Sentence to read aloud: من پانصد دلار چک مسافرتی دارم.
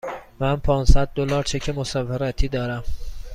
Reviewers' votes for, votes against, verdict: 2, 0, accepted